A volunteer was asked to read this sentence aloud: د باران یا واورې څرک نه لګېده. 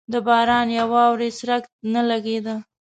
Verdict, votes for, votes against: accepted, 2, 0